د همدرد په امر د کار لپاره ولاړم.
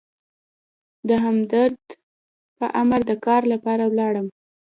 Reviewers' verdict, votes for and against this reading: rejected, 0, 2